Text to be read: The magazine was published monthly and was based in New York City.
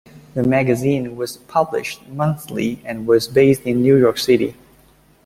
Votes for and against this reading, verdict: 2, 0, accepted